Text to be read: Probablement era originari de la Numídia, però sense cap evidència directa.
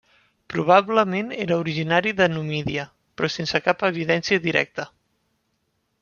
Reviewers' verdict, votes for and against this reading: rejected, 0, 2